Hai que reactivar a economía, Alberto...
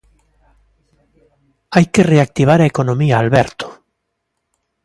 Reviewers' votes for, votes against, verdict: 2, 0, accepted